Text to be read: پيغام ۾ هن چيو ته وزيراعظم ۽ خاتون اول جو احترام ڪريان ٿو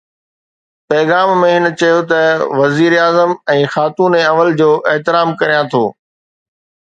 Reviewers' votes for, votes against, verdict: 2, 0, accepted